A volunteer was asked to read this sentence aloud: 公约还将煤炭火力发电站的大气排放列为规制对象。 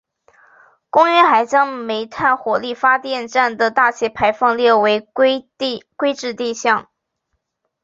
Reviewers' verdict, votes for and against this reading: rejected, 1, 3